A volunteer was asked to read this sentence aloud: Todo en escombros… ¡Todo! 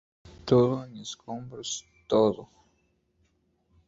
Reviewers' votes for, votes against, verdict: 0, 2, rejected